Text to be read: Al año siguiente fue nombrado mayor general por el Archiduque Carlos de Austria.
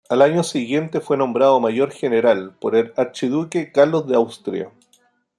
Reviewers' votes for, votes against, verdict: 2, 0, accepted